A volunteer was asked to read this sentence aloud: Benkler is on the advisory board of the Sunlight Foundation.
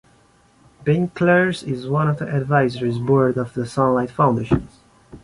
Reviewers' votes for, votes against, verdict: 2, 3, rejected